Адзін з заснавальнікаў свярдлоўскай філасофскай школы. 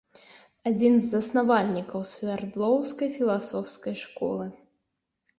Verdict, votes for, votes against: accepted, 2, 1